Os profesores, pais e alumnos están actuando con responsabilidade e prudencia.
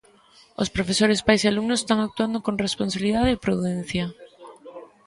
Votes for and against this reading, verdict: 2, 1, accepted